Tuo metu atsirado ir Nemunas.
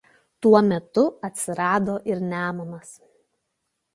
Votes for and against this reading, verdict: 2, 0, accepted